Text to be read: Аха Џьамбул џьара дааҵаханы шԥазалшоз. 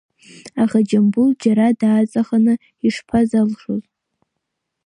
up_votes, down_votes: 2, 0